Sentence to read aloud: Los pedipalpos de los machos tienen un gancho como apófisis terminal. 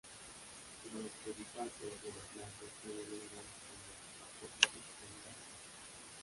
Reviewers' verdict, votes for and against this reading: rejected, 0, 2